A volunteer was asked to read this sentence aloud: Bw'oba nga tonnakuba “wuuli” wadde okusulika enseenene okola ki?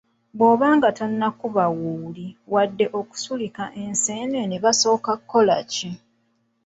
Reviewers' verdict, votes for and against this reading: rejected, 1, 2